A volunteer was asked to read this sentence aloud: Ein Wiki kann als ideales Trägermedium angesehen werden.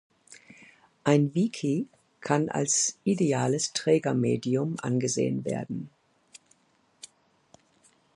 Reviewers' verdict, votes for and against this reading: accepted, 2, 0